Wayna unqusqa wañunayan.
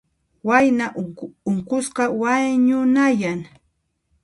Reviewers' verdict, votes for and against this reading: rejected, 0, 2